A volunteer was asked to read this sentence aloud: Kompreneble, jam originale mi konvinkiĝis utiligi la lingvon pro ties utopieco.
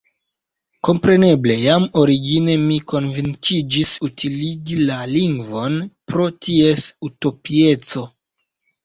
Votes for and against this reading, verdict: 1, 2, rejected